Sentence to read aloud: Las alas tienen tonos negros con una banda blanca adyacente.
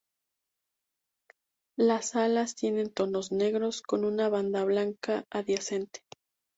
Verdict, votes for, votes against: accepted, 2, 0